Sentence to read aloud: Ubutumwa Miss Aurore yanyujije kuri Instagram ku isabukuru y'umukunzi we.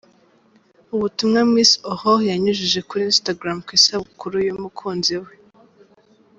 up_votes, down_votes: 2, 0